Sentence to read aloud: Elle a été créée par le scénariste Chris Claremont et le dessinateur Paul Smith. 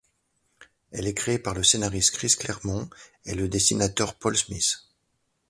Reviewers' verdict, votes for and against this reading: rejected, 0, 2